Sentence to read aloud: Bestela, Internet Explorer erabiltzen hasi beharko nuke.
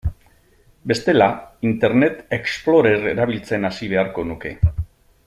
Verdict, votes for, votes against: accepted, 2, 0